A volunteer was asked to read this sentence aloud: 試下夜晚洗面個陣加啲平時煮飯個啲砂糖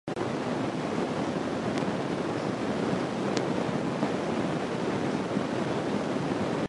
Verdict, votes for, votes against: rejected, 0, 2